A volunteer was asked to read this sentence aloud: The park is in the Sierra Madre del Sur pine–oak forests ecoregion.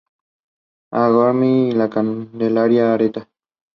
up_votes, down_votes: 0, 2